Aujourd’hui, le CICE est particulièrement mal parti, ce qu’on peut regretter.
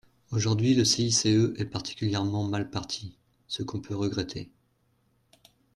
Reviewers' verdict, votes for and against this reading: accepted, 2, 0